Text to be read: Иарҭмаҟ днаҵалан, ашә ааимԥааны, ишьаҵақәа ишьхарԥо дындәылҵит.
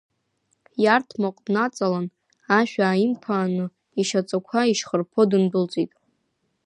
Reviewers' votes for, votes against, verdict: 1, 2, rejected